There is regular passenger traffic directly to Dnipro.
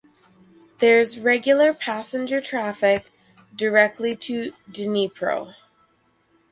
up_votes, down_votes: 4, 0